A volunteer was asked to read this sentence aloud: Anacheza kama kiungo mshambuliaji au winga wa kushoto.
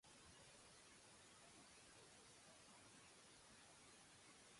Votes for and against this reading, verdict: 0, 2, rejected